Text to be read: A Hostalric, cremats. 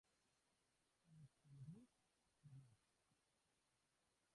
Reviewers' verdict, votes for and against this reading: rejected, 0, 2